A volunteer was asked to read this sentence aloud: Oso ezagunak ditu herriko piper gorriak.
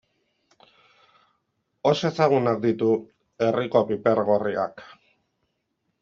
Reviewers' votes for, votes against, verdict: 2, 0, accepted